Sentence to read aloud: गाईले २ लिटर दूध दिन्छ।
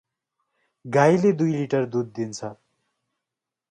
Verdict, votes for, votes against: rejected, 0, 2